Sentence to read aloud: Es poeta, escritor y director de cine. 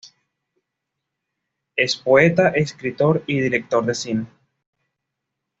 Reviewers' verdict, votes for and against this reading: accepted, 2, 0